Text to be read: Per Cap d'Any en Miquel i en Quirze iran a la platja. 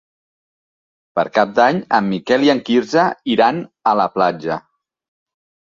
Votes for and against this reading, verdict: 3, 0, accepted